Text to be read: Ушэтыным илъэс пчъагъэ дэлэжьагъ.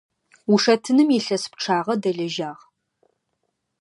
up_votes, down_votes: 2, 0